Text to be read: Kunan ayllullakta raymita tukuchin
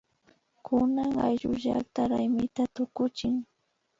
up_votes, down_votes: 0, 2